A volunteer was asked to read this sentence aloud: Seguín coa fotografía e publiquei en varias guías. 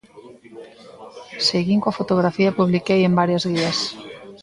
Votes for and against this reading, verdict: 2, 1, accepted